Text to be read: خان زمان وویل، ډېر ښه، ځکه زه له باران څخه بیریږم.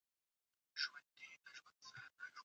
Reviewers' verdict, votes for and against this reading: rejected, 1, 2